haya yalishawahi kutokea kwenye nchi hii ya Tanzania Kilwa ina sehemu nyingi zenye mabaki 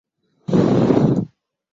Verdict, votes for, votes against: rejected, 0, 2